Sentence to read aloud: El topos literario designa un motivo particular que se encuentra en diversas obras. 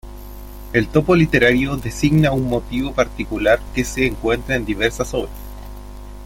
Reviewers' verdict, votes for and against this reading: rejected, 1, 2